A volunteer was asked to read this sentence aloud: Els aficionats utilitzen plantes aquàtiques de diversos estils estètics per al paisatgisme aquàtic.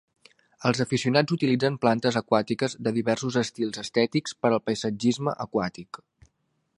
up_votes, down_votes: 2, 3